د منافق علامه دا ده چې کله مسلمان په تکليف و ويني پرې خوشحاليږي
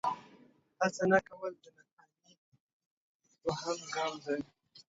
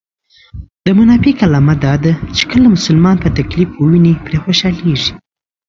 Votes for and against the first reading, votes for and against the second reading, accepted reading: 0, 2, 2, 0, second